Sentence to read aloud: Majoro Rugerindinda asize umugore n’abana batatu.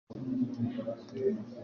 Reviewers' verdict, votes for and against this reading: rejected, 1, 2